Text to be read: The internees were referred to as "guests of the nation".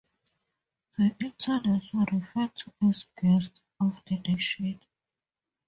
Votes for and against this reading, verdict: 0, 4, rejected